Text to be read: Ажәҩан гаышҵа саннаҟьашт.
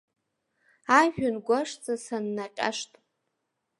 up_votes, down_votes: 2, 3